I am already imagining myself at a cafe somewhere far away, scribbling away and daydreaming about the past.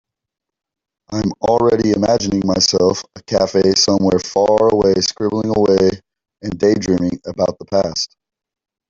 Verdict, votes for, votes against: rejected, 1, 4